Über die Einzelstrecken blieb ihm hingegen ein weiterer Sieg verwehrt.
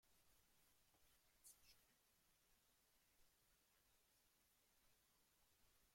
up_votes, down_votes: 0, 2